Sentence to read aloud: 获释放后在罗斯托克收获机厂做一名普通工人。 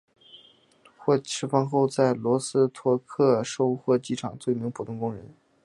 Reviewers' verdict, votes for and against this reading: accepted, 2, 1